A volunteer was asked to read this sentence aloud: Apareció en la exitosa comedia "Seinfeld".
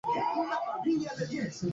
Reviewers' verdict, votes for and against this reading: rejected, 0, 2